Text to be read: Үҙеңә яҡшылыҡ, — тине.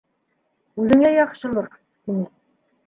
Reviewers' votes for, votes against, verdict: 2, 1, accepted